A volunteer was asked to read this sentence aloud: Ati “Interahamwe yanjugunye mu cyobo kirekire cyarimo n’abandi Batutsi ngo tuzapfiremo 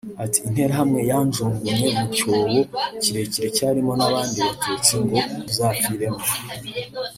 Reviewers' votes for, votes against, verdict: 2, 0, accepted